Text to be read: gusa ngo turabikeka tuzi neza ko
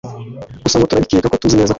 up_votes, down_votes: 2, 1